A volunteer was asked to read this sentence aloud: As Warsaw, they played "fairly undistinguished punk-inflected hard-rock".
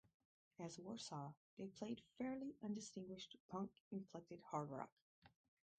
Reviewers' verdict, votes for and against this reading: rejected, 0, 4